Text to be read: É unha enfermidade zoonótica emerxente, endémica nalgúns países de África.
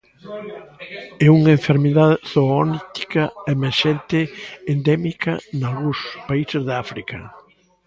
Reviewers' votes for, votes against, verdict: 0, 2, rejected